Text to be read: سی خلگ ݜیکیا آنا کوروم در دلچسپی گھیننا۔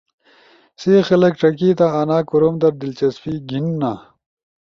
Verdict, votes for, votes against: accepted, 2, 0